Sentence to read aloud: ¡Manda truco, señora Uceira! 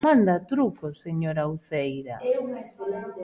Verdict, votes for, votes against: rejected, 1, 2